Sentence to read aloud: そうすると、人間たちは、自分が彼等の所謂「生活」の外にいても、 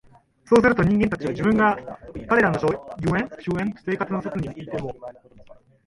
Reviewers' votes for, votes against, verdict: 1, 4, rejected